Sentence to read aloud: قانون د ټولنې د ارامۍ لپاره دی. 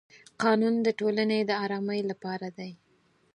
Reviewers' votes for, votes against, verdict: 4, 0, accepted